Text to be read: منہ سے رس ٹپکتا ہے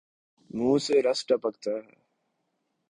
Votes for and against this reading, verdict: 4, 0, accepted